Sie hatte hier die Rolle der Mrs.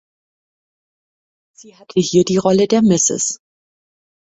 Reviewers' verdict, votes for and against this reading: rejected, 0, 2